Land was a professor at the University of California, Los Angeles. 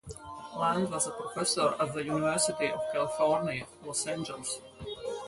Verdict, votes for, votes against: accepted, 4, 2